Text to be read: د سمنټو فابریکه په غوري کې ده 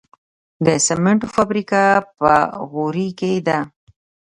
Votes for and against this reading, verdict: 1, 2, rejected